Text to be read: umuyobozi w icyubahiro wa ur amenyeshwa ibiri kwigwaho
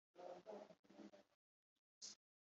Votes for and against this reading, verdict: 1, 2, rejected